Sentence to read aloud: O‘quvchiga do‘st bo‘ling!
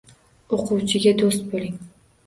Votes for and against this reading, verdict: 2, 0, accepted